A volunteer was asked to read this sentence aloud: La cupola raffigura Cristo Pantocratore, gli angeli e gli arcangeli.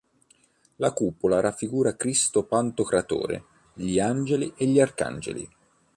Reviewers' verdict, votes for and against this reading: accepted, 2, 1